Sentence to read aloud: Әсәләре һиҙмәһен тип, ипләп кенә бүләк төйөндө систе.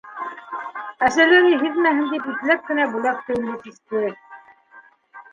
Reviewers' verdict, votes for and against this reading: rejected, 0, 2